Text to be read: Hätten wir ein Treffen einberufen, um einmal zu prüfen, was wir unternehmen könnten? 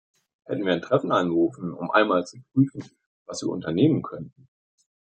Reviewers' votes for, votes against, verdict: 2, 0, accepted